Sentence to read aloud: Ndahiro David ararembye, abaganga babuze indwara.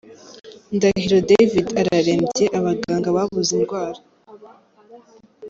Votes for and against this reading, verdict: 2, 0, accepted